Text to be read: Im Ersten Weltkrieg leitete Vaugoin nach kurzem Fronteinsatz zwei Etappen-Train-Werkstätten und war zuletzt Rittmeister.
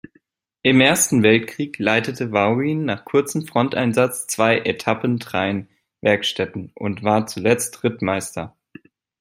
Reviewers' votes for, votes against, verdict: 2, 1, accepted